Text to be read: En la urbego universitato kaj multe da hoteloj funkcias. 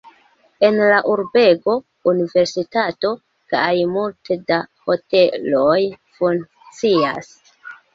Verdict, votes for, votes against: rejected, 1, 2